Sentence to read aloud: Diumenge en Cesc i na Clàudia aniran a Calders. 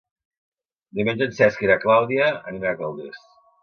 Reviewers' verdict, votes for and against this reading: accepted, 2, 1